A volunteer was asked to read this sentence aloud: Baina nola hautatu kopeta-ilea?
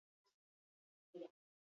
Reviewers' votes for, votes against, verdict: 0, 4, rejected